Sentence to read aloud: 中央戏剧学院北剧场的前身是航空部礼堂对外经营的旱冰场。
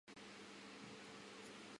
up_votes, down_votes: 0, 2